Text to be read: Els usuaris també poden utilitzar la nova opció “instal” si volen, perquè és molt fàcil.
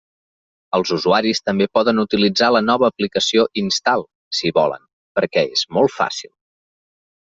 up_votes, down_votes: 0, 2